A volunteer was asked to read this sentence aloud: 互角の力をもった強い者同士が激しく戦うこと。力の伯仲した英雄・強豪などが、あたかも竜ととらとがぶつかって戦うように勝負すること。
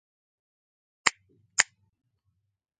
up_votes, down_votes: 0, 3